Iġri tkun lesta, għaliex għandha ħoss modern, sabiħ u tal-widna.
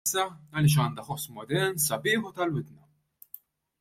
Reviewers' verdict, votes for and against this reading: rejected, 0, 2